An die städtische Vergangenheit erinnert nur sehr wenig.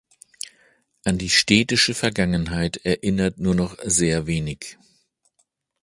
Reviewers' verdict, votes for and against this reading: rejected, 0, 2